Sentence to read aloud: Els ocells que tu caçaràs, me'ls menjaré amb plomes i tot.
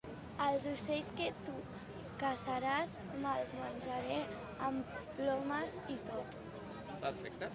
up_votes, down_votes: 2, 0